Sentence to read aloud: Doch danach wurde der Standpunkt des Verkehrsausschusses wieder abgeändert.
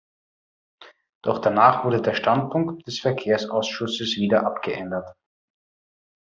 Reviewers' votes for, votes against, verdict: 2, 0, accepted